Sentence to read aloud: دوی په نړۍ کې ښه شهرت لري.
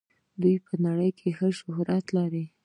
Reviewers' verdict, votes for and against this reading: accepted, 2, 1